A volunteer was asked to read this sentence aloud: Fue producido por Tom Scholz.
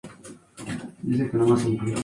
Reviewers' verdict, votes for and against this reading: rejected, 0, 2